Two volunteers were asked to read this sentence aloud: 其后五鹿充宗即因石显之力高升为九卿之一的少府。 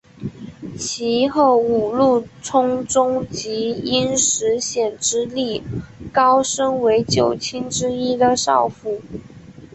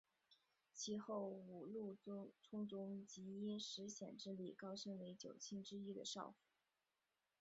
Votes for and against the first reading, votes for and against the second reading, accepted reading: 2, 1, 1, 2, first